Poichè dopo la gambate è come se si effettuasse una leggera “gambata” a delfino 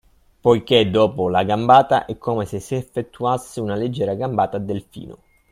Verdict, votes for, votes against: rejected, 0, 2